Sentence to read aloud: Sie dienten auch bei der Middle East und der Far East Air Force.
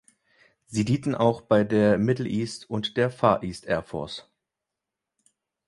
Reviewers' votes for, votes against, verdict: 0, 2, rejected